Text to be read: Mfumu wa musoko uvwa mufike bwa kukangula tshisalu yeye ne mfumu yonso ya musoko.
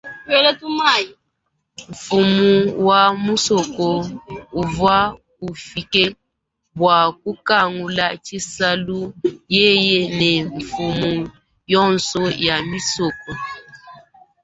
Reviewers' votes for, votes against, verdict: 0, 2, rejected